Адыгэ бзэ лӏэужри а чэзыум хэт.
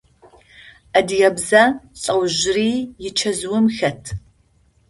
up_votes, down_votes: 0, 2